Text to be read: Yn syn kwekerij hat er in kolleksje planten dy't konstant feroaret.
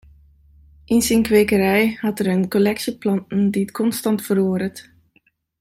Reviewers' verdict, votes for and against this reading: accepted, 2, 1